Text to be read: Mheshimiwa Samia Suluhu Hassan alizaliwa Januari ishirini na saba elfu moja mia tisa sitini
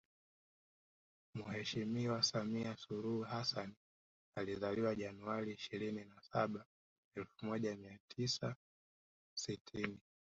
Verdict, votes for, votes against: rejected, 0, 2